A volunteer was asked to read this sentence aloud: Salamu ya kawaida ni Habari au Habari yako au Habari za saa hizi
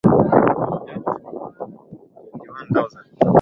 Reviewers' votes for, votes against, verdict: 0, 2, rejected